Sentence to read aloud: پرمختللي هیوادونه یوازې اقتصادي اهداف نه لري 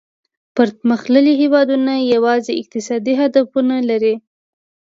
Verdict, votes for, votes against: rejected, 0, 2